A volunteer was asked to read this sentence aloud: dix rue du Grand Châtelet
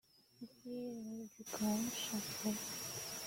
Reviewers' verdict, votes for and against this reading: rejected, 1, 2